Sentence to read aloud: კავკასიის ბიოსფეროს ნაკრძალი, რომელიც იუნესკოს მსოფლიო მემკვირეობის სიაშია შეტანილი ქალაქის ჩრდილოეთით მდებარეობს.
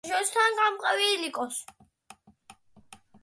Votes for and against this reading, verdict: 0, 2, rejected